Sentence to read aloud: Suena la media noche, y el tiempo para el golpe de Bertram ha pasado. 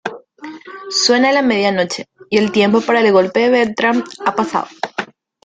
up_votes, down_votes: 1, 2